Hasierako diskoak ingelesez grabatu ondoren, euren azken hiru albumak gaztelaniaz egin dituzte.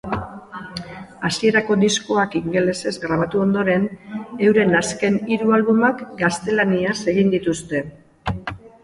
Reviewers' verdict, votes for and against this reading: accepted, 5, 2